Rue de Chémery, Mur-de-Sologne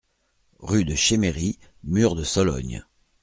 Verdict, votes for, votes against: accepted, 2, 0